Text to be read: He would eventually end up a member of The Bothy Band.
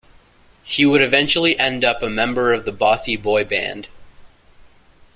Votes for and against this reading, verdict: 0, 2, rejected